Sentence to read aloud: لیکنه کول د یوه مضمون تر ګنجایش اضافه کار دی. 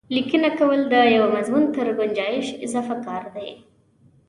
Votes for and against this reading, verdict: 2, 0, accepted